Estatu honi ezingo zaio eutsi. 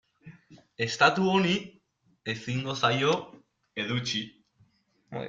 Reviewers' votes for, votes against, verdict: 0, 2, rejected